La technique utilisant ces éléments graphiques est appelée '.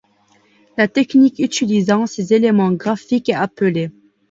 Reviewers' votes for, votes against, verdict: 2, 0, accepted